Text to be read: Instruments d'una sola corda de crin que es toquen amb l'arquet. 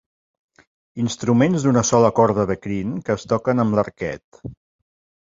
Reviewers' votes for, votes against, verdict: 2, 0, accepted